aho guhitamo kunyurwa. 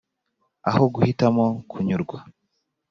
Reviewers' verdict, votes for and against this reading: accepted, 4, 0